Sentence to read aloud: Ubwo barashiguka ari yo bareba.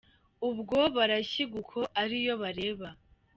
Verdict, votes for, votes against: rejected, 1, 2